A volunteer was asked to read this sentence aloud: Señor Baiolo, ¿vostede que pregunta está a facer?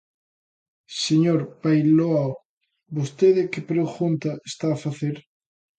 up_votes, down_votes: 0, 2